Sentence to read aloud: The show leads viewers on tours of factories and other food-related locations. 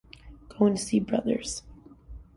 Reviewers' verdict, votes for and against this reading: rejected, 0, 2